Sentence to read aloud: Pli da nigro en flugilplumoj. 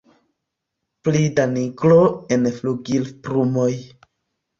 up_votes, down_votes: 1, 2